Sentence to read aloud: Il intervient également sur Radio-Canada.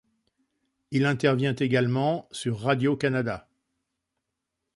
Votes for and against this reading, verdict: 2, 0, accepted